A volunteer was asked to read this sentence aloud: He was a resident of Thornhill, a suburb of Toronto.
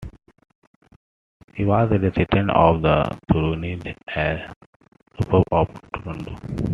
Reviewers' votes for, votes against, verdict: 0, 2, rejected